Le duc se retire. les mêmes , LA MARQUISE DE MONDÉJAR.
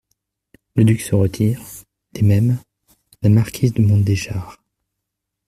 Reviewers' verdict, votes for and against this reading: rejected, 1, 2